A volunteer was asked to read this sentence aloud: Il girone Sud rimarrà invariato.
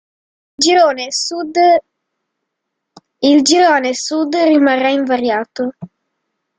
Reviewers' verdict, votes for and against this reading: rejected, 0, 2